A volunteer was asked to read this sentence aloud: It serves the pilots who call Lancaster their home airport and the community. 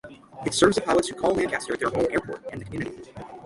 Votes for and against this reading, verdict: 6, 3, accepted